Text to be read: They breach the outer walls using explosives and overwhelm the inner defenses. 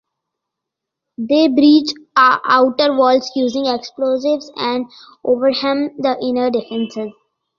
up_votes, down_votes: 0, 2